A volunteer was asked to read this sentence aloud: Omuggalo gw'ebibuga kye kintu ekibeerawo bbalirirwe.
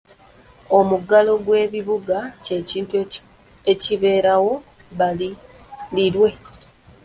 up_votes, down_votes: 0, 2